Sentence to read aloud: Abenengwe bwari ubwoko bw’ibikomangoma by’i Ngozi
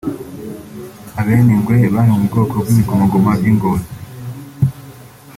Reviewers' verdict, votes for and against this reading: accepted, 4, 0